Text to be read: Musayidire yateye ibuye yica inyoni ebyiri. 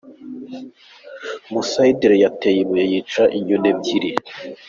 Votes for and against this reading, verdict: 2, 0, accepted